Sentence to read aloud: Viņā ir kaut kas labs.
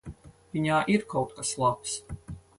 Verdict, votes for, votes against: accepted, 4, 0